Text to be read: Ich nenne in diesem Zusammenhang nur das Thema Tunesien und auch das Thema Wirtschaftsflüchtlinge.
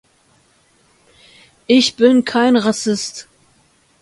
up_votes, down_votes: 0, 2